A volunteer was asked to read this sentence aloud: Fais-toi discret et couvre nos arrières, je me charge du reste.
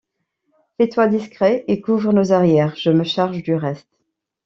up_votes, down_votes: 2, 0